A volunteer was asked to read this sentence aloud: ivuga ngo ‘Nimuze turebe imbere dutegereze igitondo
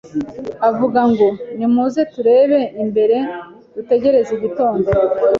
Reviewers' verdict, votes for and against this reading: rejected, 0, 2